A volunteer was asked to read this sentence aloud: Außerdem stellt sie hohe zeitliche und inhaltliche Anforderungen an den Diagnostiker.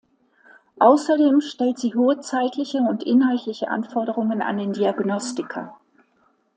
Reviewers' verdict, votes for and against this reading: accepted, 2, 0